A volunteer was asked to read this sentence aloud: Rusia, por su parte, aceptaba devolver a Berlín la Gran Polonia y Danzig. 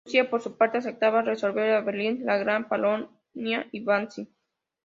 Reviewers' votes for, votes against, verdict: 0, 2, rejected